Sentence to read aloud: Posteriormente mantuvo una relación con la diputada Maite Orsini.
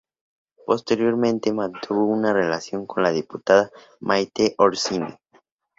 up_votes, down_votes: 2, 0